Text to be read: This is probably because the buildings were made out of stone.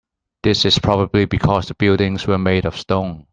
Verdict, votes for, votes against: rejected, 0, 2